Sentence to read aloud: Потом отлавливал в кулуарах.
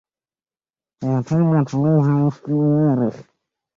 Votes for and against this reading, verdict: 0, 2, rejected